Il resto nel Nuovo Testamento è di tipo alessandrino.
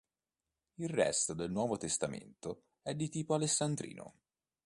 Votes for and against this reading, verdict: 1, 2, rejected